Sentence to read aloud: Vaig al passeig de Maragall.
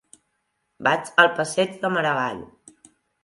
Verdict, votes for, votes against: accepted, 2, 0